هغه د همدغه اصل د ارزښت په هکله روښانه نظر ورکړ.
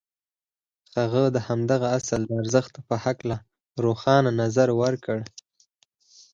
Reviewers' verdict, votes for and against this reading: accepted, 4, 2